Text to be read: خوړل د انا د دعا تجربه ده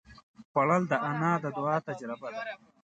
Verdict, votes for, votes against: rejected, 1, 2